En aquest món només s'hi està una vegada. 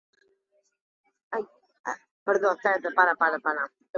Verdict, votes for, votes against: rejected, 0, 2